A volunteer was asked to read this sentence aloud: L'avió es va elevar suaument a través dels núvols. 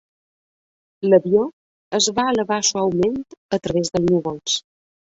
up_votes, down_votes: 0, 2